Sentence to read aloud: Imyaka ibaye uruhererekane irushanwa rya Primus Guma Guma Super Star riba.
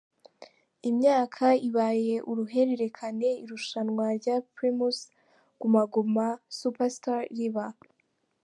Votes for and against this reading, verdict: 3, 0, accepted